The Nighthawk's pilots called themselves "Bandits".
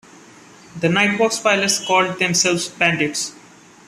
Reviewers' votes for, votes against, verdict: 2, 0, accepted